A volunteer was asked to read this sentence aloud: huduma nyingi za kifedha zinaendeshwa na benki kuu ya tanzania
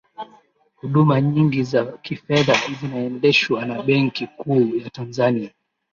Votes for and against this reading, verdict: 14, 3, accepted